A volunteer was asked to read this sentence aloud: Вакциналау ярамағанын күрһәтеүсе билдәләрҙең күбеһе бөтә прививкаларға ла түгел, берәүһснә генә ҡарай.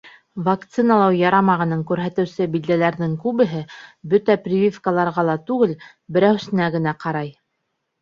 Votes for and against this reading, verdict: 1, 2, rejected